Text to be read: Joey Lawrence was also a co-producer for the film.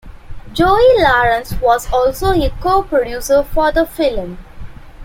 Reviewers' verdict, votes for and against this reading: accepted, 2, 0